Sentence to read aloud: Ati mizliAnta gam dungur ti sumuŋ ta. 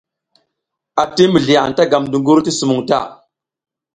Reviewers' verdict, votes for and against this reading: accepted, 3, 0